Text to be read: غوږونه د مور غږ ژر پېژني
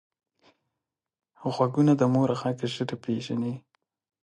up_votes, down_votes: 2, 1